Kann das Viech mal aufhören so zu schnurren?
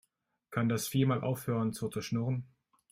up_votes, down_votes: 2, 0